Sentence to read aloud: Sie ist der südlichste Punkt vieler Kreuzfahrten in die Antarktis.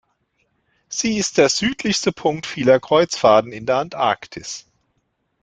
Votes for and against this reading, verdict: 1, 2, rejected